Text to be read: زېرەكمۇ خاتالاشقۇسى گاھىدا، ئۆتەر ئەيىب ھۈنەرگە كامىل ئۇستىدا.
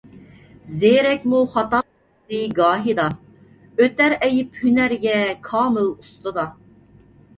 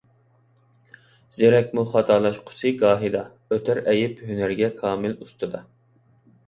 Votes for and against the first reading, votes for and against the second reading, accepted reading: 0, 2, 2, 0, second